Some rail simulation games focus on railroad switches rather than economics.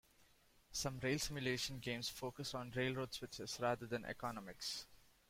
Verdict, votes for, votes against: accepted, 2, 0